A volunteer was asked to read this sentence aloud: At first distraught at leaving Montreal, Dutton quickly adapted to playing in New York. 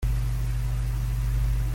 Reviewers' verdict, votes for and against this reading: rejected, 0, 2